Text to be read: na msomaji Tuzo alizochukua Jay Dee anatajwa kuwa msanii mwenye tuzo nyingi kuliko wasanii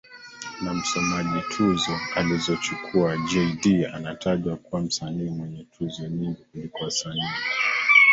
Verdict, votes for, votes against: rejected, 0, 2